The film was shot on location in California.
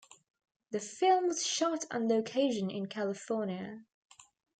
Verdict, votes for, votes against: rejected, 1, 2